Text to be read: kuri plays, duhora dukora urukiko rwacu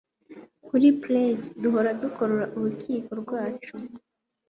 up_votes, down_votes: 2, 0